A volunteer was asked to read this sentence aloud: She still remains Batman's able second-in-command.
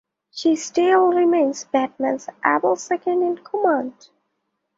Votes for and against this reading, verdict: 2, 0, accepted